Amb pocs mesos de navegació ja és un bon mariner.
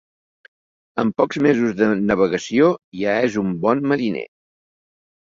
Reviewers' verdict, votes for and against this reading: accepted, 2, 0